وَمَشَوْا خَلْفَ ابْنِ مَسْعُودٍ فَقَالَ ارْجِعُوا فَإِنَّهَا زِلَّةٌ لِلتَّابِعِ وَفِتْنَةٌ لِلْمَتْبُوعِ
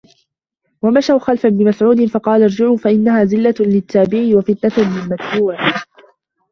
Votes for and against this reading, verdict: 0, 2, rejected